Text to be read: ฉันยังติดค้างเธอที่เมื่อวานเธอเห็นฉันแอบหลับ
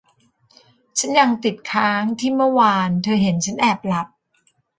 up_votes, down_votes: 0, 2